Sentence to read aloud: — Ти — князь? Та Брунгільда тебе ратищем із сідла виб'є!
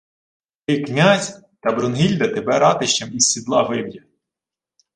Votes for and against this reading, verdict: 2, 0, accepted